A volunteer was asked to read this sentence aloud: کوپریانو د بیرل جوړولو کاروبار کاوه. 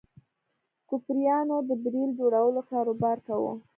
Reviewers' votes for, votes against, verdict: 2, 0, accepted